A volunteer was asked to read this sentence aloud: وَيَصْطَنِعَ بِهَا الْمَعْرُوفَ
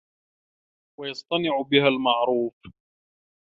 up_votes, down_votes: 2, 1